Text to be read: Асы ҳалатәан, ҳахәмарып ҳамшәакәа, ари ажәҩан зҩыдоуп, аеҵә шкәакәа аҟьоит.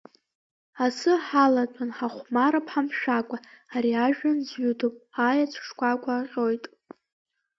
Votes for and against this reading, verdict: 2, 0, accepted